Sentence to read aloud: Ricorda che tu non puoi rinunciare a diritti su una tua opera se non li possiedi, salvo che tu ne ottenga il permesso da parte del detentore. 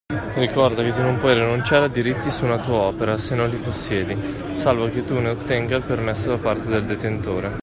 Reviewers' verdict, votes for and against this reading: accepted, 2, 0